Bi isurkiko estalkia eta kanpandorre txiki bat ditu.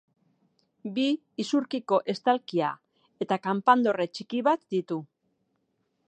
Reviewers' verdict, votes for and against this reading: accepted, 2, 0